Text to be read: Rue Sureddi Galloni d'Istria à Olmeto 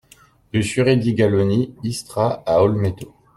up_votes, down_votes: 0, 2